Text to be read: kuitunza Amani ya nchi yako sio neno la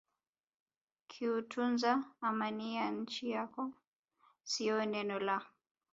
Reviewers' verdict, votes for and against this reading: accepted, 2, 0